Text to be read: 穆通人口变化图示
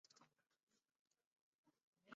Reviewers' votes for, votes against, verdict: 1, 7, rejected